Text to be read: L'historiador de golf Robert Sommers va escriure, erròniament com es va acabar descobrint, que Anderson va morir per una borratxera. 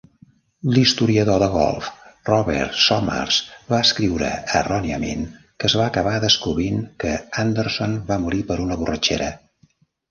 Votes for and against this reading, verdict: 1, 2, rejected